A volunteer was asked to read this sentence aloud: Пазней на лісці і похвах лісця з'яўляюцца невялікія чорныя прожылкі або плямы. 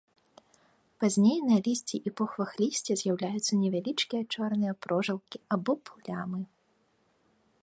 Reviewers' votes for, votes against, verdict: 1, 2, rejected